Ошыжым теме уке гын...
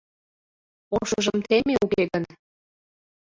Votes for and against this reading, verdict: 0, 2, rejected